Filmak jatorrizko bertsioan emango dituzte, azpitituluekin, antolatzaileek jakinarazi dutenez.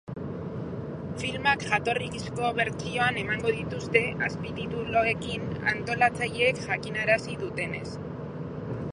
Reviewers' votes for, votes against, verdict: 0, 2, rejected